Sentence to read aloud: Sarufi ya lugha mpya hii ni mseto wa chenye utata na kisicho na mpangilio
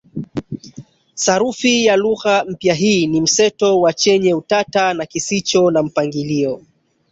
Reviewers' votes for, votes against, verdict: 1, 2, rejected